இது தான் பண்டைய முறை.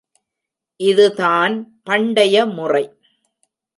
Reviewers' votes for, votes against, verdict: 1, 2, rejected